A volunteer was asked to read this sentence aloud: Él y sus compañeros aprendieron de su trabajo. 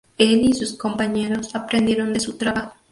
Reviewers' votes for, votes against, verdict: 2, 0, accepted